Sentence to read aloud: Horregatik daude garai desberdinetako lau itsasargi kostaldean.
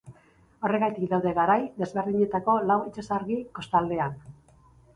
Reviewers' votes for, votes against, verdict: 0, 2, rejected